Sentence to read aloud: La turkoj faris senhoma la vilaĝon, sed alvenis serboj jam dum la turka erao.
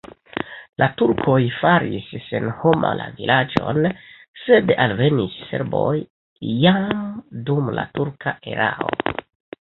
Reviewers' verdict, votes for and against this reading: accepted, 3, 0